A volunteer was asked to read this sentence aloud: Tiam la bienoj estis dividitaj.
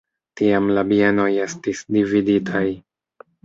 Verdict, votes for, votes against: accepted, 2, 0